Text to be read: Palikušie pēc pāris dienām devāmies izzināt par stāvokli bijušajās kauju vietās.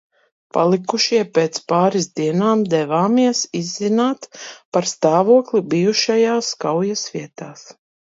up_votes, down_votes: 0, 2